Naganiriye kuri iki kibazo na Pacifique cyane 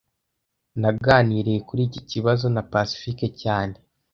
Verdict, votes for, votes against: accepted, 2, 0